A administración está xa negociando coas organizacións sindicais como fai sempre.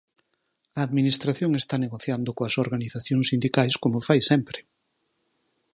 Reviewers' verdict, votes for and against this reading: rejected, 0, 6